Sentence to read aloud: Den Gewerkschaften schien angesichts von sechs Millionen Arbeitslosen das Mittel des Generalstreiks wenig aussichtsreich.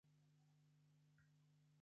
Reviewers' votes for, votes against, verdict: 0, 2, rejected